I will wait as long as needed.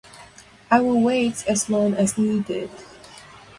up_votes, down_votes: 4, 0